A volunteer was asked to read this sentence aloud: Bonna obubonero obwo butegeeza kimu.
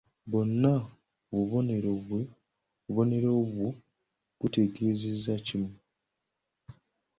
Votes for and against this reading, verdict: 0, 2, rejected